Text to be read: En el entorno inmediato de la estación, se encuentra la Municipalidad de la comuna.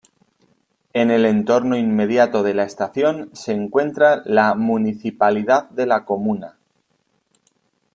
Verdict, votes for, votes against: accepted, 2, 0